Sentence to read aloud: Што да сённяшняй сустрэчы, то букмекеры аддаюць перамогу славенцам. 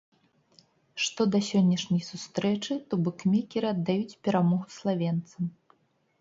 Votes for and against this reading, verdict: 2, 0, accepted